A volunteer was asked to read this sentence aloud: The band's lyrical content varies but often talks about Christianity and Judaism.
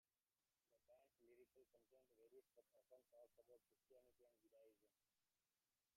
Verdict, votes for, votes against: rejected, 0, 2